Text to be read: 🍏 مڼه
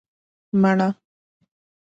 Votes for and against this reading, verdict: 3, 0, accepted